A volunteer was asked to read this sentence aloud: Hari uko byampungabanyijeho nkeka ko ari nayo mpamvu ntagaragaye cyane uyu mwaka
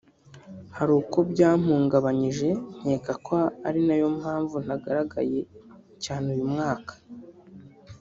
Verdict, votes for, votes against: rejected, 1, 2